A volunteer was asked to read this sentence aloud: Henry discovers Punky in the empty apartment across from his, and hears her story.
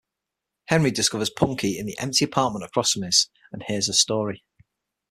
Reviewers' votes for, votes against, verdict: 6, 0, accepted